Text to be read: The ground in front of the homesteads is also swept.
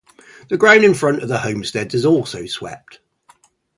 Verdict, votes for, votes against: accepted, 2, 0